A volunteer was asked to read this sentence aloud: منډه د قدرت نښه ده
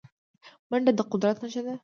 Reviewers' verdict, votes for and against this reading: accepted, 2, 0